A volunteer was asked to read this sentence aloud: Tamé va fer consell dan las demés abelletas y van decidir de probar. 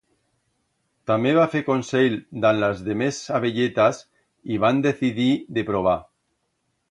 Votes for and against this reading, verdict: 2, 0, accepted